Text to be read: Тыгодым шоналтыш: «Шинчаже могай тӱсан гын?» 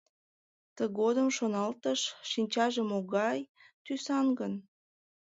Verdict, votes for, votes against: accepted, 2, 0